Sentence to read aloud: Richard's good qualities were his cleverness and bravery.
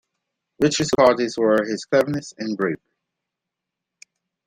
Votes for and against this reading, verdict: 1, 2, rejected